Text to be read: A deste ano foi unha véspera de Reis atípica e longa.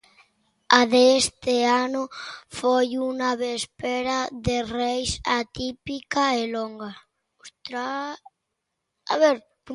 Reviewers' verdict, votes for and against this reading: rejected, 0, 2